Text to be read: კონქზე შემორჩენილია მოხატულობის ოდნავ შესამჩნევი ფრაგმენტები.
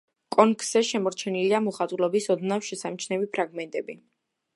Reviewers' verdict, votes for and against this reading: accepted, 2, 1